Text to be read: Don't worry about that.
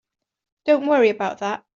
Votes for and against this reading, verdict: 2, 0, accepted